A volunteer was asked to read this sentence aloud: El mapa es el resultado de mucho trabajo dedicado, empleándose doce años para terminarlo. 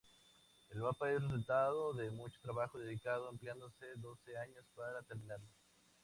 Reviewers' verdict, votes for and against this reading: rejected, 0, 2